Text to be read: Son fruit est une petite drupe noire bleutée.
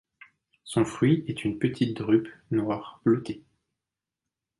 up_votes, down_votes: 2, 0